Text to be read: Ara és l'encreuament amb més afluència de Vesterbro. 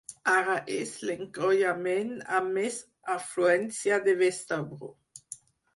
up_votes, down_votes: 2, 4